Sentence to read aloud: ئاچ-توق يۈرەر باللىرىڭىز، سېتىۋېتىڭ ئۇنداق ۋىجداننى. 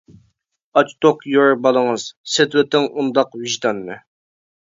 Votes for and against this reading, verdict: 1, 2, rejected